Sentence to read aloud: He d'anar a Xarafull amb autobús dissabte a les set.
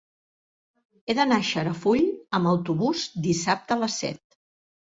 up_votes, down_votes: 3, 0